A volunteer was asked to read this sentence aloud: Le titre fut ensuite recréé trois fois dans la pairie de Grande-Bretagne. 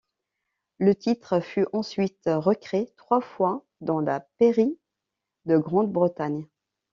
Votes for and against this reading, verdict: 0, 2, rejected